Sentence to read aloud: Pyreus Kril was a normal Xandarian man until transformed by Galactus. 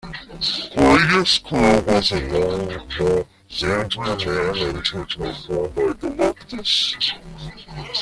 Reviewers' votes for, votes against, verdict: 0, 2, rejected